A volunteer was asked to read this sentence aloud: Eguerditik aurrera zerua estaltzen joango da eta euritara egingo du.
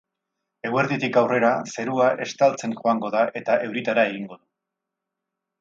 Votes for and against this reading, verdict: 4, 0, accepted